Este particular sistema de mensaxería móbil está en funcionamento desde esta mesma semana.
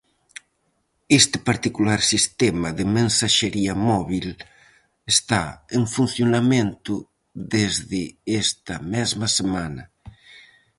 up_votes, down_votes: 4, 0